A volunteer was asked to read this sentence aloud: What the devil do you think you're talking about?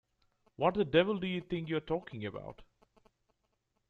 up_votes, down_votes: 2, 0